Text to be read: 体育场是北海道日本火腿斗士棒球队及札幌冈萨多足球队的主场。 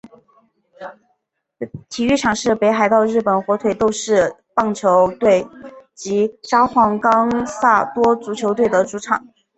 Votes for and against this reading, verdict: 3, 2, accepted